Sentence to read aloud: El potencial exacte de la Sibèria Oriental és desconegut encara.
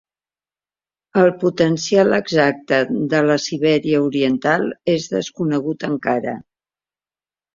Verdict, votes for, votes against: accepted, 2, 1